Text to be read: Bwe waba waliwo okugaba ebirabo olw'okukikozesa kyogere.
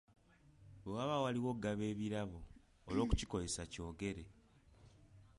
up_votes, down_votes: 2, 0